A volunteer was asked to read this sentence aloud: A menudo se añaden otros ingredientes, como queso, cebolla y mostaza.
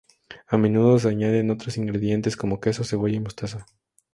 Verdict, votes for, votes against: accepted, 2, 0